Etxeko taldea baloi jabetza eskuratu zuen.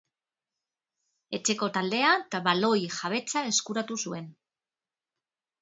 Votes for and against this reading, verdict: 0, 3, rejected